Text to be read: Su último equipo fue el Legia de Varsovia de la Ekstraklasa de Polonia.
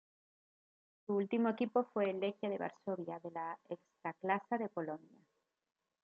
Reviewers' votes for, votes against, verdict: 2, 0, accepted